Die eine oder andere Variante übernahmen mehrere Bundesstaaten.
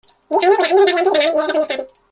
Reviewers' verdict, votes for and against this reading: rejected, 0, 2